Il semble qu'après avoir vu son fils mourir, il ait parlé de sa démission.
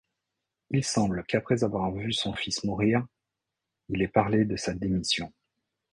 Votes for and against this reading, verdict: 2, 0, accepted